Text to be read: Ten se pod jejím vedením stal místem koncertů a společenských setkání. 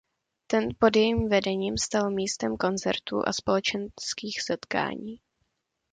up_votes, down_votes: 0, 2